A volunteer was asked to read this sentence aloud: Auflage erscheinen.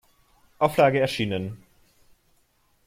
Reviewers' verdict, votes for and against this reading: rejected, 0, 2